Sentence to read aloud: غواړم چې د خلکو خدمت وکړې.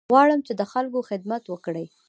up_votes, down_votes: 0, 2